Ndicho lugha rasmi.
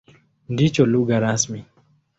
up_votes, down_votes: 2, 0